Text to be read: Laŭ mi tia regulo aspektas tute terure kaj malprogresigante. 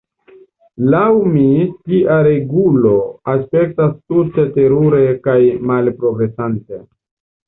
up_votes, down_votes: 2, 0